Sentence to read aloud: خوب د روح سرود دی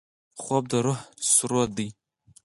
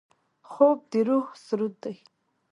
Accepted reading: second